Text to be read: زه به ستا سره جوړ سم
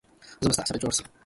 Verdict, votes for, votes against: rejected, 0, 2